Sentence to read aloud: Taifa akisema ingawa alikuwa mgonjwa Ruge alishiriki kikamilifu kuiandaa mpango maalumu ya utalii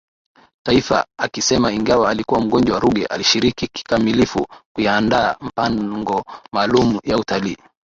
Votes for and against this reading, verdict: 2, 0, accepted